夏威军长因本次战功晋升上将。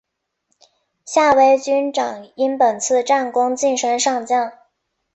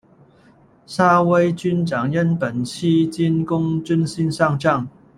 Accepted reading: first